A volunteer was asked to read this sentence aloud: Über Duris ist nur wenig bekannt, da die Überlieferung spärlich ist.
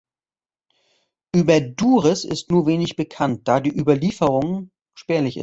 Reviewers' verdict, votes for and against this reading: rejected, 0, 2